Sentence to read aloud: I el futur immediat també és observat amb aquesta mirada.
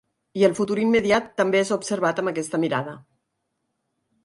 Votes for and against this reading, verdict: 2, 4, rejected